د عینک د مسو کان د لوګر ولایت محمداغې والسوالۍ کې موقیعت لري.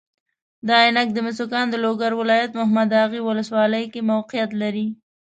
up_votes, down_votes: 2, 0